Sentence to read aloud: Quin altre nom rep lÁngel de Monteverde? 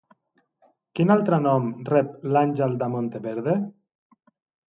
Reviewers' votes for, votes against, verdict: 0, 2, rejected